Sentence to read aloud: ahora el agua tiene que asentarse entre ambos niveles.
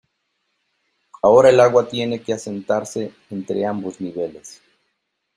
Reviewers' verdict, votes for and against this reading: accepted, 2, 0